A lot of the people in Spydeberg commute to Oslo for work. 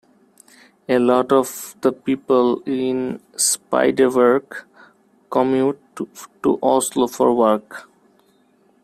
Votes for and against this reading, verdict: 0, 2, rejected